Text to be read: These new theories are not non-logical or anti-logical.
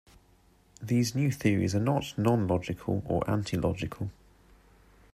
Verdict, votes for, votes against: accepted, 2, 0